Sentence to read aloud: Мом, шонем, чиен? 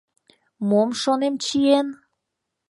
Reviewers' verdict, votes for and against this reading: accepted, 2, 0